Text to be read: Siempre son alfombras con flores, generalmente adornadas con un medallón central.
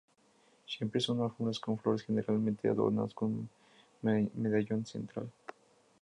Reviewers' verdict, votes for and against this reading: rejected, 0, 4